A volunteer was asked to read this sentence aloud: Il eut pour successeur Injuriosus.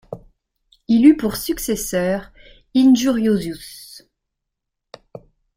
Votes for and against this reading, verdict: 1, 2, rejected